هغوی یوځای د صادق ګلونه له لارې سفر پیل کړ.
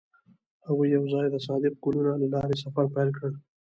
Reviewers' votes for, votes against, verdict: 1, 2, rejected